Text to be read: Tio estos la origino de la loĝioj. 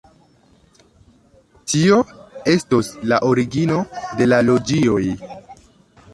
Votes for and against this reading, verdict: 2, 0, accepted